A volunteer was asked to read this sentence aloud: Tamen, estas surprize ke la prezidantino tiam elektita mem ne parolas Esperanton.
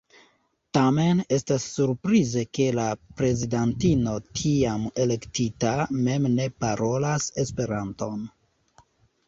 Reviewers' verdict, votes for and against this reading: accepted, 2, 0